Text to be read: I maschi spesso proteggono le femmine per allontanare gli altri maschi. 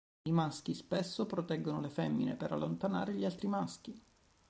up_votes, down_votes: 3, 1